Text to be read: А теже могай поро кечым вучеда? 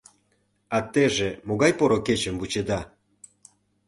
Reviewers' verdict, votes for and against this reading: accepted, 2, 0